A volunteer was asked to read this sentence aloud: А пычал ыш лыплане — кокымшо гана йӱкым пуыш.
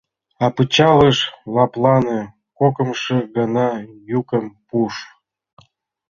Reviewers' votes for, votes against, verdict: 1, 2, rejected